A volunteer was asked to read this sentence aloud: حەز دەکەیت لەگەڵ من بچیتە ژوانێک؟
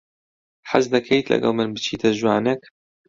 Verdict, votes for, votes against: accepted, 2, 0